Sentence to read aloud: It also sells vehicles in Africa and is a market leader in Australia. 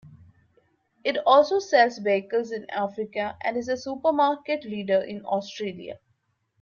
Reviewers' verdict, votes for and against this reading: rejected, 0, 2